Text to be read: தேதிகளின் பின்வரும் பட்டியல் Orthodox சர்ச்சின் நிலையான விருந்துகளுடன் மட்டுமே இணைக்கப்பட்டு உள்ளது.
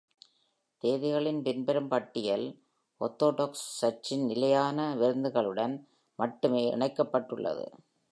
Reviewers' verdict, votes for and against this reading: accepted, 2, 0